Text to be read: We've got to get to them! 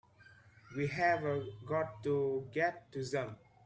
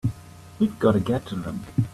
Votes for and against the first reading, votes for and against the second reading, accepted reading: 0, 2, 2, 1, second